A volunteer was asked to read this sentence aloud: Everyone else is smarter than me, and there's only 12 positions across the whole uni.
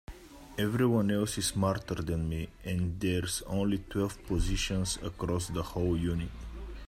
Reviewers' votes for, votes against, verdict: 0, 2, rejected